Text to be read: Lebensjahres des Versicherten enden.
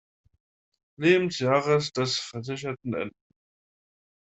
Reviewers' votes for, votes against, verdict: 2, 0, accepted